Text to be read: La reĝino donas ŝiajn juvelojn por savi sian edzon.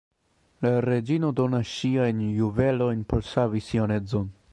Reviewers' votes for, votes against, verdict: 2, 1, accepted